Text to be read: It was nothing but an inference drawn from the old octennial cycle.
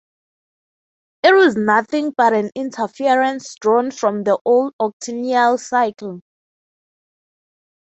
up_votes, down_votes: 3, 3